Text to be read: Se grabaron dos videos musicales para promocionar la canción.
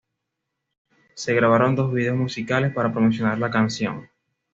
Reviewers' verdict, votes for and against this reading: accepted, 2, 0